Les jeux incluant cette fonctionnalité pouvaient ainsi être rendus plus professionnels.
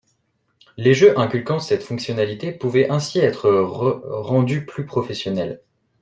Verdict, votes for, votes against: rejected, 1, 2